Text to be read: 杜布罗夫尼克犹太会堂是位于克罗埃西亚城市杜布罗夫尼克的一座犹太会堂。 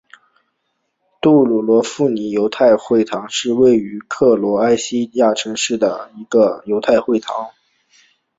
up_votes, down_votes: 2, 1